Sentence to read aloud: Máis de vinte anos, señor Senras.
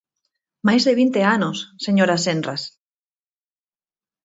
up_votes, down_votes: 0, 4